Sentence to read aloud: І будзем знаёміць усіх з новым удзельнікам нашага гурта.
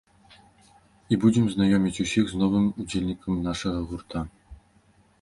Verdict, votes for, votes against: accepted, 2, 0